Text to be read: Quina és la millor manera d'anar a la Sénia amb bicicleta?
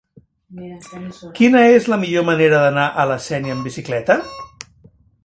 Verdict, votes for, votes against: rejected, 0, 2